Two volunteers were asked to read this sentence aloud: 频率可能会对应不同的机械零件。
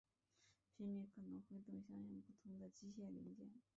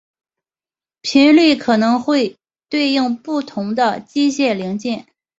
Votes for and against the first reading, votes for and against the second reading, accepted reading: 0, 2, 2, 0, second